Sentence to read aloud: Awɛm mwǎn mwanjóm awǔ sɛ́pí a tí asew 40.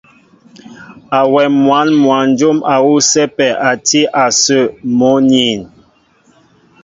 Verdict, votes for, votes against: rejected, 0, 2